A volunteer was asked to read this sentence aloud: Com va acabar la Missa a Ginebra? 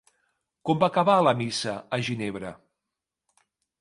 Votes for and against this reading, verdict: 4, 0, accepted